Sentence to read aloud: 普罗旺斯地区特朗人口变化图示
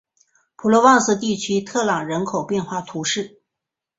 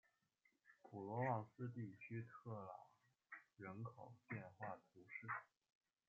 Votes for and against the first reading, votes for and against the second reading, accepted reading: 5, 1, 1, 2, first